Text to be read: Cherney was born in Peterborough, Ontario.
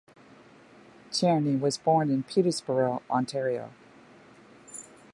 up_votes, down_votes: 1, 2